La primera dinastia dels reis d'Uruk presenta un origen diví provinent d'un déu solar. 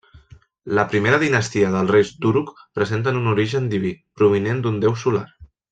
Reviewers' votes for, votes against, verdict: 1, 2, rejected